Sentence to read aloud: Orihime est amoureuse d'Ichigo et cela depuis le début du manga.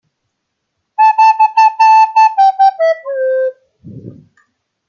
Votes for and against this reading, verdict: 0, 2, rejected